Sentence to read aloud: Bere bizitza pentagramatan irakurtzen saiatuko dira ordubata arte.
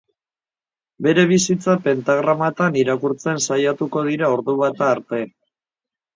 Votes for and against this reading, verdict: 8, 0, accepted